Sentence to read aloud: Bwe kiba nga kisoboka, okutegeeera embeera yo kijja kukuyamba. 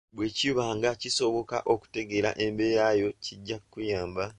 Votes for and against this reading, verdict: 2, 0, accepted